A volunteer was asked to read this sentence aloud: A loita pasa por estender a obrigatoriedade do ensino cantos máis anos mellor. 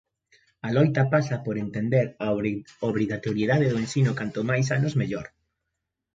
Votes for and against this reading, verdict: 0, 2, rejected